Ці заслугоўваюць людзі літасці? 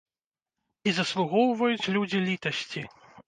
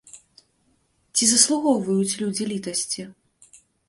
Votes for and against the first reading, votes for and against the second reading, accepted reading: 0, 2, 2, 0, second